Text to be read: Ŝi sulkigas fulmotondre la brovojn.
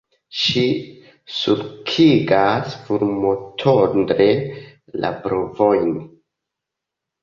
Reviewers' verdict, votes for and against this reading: accepted, 2, 1